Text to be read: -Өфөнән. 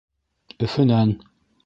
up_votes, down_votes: 1, 2